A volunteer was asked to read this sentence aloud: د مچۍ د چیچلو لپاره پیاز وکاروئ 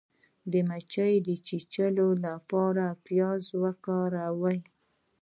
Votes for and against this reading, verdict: 2, 0, accepted